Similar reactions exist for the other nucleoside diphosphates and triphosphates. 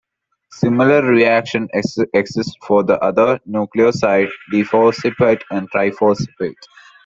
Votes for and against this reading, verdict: 0, 2, rejected